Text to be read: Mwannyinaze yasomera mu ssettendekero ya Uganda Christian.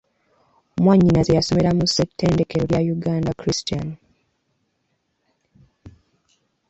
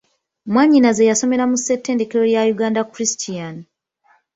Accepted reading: second